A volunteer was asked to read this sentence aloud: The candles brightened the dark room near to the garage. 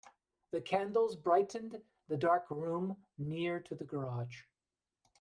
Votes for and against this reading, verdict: 1, 2, rejected